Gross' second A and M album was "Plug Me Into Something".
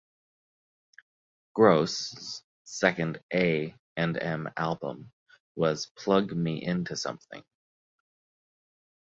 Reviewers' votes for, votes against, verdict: 1, 2, rejected